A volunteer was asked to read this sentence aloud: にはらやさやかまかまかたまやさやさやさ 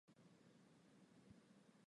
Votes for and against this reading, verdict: 0, 2, rejected